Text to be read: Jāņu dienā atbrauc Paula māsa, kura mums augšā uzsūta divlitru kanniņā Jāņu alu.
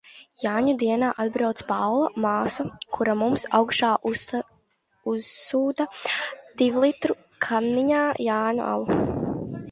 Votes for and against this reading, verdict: 0, 2, rejected